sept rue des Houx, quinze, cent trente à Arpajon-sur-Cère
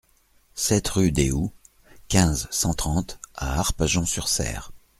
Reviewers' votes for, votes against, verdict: 2, 0, accepted